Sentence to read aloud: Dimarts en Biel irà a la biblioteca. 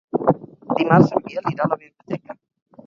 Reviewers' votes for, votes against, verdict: 0, 4, rejected